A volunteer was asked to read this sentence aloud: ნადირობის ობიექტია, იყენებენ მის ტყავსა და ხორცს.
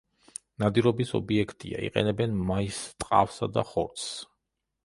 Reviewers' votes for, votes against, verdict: 0, 2, rejected